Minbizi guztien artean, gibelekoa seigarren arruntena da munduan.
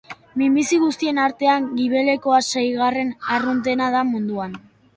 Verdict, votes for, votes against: accepted, 2, 0